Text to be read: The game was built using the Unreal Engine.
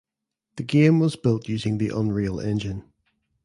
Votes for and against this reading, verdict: 2, 0, accepted